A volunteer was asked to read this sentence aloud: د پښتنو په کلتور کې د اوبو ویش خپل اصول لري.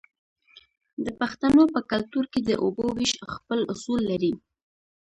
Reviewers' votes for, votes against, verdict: 2, 0, accepted